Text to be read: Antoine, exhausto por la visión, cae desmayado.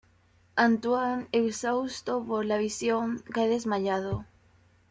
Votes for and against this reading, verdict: 2, 0, accepted